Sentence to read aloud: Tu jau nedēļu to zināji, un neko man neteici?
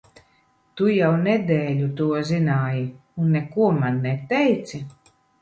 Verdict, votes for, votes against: accepted, 2, 0